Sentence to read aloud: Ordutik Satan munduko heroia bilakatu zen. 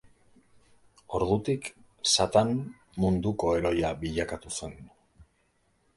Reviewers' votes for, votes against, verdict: 2, 0, accepted